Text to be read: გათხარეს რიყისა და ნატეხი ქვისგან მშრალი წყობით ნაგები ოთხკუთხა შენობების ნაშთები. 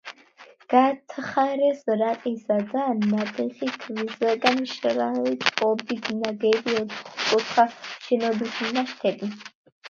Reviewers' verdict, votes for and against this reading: rejected, 1, 2